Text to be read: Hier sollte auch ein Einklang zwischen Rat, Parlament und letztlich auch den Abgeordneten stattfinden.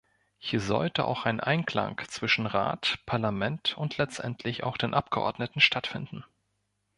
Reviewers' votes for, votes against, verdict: 1, 2, rejected